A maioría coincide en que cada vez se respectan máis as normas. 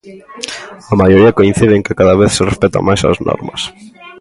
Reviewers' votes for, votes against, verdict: 2, 1, accepted